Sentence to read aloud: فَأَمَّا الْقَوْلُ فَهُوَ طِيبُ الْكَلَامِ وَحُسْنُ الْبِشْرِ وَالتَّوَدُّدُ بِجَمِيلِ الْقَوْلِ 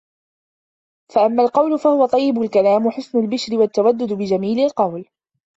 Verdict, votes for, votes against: accepted, 2, 1